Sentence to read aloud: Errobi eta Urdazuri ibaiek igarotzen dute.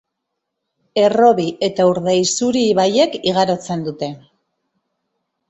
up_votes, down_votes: 0, 2